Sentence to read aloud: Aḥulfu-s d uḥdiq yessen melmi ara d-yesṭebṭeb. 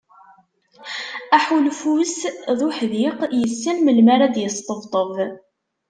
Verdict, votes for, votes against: accepted, 2, 0